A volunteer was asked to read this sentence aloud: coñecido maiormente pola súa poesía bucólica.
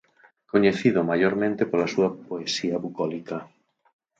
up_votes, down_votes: 4, 0